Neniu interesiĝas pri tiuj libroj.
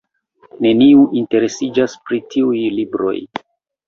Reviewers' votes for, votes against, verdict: 2, 0, accepted